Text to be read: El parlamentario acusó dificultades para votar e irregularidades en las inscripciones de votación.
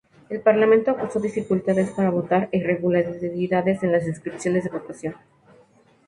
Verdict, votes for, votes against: rejected, 0, 2